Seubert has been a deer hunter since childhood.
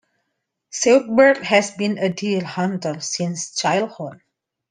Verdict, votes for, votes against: accepted, 2, 0